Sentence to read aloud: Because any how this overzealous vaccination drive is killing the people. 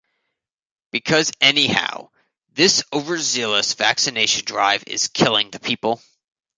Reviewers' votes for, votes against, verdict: 0, 2, rejected